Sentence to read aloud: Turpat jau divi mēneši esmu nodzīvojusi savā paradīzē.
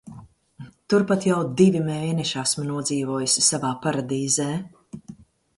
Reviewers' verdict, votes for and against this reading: accepted, 2, 0